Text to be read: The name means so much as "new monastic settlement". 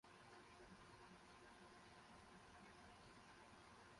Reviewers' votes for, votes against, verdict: 0, 4, rejected